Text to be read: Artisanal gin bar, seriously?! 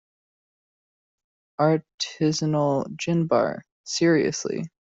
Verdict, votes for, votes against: rejected, 1, 2